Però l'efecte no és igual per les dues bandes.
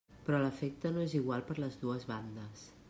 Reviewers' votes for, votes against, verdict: 3, 0, accepted